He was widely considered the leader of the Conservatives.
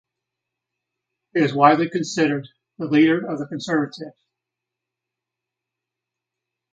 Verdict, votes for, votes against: accepted, 2, 1